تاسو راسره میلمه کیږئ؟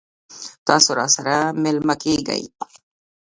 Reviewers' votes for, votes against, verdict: 1, 2, rejected